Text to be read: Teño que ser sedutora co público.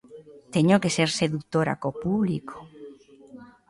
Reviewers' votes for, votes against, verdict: 2, 0, accepted